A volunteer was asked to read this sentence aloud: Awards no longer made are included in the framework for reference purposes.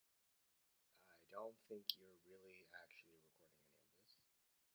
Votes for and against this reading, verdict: 0, 2, rejected